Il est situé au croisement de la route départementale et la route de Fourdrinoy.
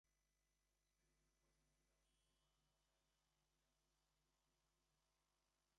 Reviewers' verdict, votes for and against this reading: rejected, 0, 2